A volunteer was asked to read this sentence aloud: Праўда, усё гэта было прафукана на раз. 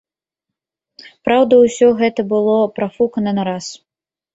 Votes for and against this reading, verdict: 2, 0, accepted